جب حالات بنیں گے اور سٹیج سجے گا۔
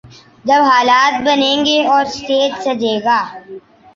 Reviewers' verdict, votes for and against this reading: accepted, 2, 1